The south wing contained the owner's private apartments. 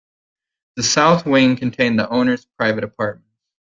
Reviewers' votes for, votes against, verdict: 1, 2, rejected